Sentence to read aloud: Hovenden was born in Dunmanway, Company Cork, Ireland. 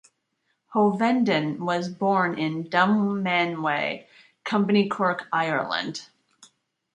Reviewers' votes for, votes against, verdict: 2, 0, accepted